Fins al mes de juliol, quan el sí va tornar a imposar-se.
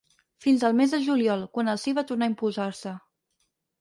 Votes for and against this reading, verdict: 4, 0, accepted